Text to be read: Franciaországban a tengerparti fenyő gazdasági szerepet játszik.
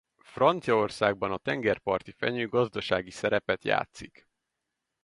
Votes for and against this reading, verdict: 4, 0, accepted